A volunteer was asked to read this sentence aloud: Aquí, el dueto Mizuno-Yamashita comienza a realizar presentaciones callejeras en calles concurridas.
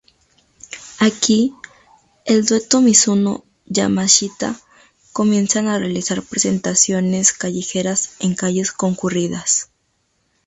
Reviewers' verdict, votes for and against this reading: rejected, 0, 2